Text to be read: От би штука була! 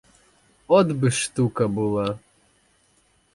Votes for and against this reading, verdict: 2, 2, rejected